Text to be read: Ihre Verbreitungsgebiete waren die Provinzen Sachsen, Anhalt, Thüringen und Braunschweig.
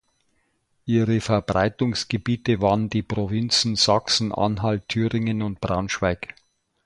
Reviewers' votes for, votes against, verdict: 2, 0, accepted